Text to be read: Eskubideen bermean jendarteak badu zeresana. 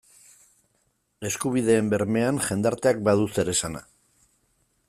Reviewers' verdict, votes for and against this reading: accepted, 2, 0